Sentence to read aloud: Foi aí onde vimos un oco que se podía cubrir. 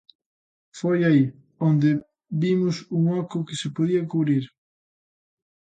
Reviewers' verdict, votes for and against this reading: accepted, 2, 0